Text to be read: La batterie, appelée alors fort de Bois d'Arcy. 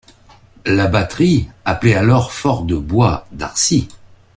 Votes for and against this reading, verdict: 0, 2, rejected